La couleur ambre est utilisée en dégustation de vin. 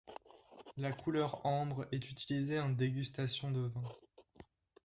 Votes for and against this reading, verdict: 1, 2, rejected